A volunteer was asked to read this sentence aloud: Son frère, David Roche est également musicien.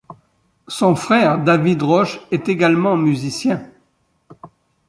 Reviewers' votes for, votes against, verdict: 2, 0, accepted